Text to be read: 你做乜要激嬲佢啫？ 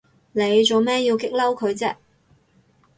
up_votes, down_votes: 4, 2